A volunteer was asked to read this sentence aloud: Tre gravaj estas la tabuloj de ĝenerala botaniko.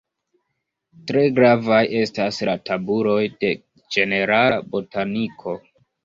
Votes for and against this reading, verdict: 0, 2, rejected